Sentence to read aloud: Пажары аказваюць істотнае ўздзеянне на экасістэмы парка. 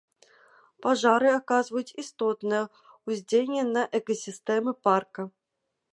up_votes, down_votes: 2, 0